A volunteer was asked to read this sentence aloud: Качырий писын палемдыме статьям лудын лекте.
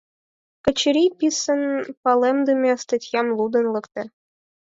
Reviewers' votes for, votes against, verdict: 4, 0, accepted